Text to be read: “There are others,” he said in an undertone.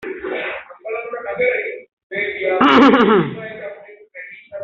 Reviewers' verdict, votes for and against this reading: rejected, 1, 3